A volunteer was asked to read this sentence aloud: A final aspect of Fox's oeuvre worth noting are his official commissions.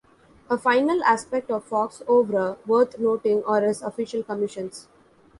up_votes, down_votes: 0, 3